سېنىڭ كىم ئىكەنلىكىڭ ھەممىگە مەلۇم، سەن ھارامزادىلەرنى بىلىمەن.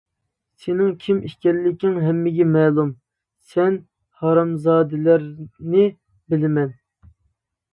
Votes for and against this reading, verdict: 2, 0, accepted